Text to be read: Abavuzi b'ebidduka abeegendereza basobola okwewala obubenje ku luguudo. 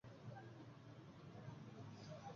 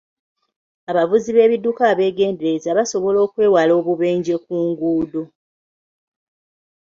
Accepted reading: second